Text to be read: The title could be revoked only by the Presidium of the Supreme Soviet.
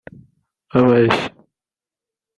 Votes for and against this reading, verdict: 0, 2, rejected